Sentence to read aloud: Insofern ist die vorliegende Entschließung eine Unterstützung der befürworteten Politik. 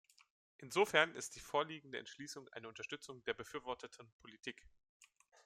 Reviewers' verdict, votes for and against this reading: accepted, 2, 0